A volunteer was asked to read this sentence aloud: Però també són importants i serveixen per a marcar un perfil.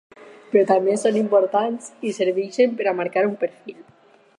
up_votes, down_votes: 4, 0